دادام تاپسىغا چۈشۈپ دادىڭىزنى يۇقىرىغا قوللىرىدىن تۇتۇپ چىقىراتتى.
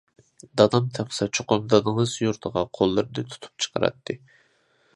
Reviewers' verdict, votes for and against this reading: rejected, 0, 2